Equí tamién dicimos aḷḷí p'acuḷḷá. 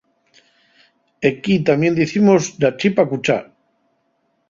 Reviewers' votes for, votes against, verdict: 2, 2, rejected